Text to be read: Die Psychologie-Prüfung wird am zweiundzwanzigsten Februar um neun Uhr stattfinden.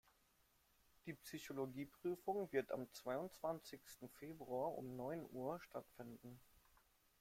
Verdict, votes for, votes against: rejected, 0, 2